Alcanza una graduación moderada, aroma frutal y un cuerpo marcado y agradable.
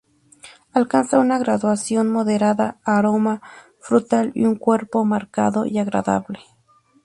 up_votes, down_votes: 2, 0